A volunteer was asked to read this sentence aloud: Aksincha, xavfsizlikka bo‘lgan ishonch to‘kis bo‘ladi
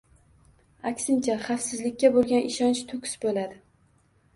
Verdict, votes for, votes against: accepted, 2, 0